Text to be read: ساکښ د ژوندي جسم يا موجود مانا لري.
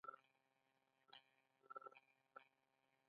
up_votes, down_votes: 1, 2